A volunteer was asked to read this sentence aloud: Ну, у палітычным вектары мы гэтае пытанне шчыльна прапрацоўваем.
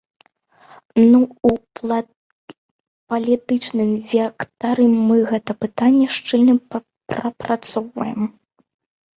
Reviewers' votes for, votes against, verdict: 0, 2, rejected